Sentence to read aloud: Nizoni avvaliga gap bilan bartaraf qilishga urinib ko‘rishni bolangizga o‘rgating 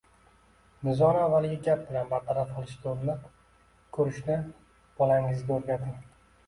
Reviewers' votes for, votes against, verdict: 2, 0, accepted